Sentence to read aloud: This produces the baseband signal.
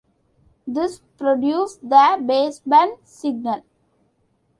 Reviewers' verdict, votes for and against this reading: accepted, 2, 1